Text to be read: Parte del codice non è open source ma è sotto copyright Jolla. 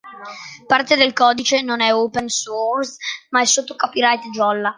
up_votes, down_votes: 2, 0